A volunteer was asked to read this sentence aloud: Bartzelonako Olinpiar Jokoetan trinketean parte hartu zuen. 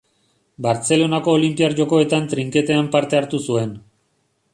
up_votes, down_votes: 2, 0